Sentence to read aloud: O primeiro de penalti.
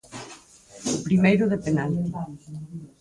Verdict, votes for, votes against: rejected, 2, 4